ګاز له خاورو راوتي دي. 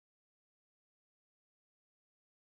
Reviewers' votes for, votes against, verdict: 1, 2, rejected